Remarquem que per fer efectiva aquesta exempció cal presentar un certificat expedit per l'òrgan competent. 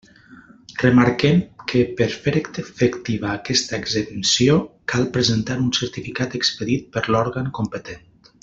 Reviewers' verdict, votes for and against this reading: rejected, 0, 2